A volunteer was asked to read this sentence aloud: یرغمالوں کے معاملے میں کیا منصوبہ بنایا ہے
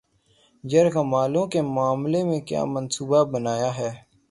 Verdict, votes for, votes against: accepted, 6, 3